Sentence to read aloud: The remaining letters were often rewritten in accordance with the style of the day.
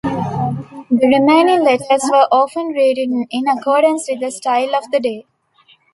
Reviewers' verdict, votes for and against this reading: accepted, 2, 0